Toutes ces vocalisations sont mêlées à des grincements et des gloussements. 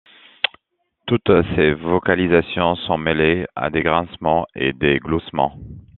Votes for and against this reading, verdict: 2, 1, accepted